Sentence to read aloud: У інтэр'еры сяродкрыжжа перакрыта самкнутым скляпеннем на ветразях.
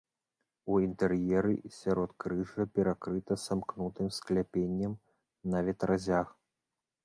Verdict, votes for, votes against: rejected, 0, 2